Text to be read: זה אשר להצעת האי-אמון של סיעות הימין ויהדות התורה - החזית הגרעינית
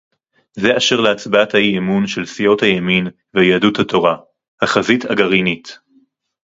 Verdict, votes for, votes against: rejected, 0, 2